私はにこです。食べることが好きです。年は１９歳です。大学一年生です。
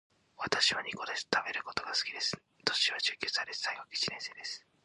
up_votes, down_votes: 0, 2